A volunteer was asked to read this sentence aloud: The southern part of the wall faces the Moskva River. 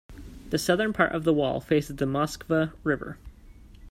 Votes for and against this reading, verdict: 2, 0, accepted